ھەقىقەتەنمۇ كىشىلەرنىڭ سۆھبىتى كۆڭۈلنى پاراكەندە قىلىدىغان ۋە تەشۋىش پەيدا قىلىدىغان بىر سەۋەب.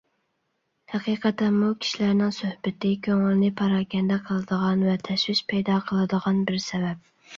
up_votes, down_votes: 2, 0